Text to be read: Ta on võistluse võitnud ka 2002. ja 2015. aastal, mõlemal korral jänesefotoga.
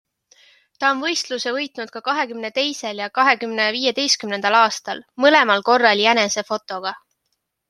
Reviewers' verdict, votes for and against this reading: rejected, 0, 2